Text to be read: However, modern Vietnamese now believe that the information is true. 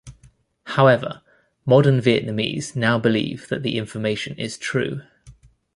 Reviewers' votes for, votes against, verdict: 1, 2, rejected